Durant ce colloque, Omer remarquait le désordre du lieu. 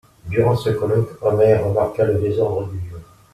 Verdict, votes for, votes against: rejected, 0, 2